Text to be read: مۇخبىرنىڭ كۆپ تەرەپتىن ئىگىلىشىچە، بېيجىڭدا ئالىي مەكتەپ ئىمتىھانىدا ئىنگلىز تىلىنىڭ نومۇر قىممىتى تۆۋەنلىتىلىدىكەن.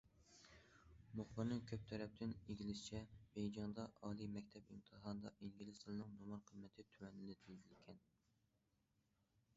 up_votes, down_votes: 2, 0